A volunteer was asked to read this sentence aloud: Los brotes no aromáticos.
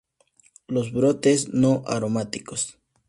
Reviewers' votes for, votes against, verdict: 2, 0, accepted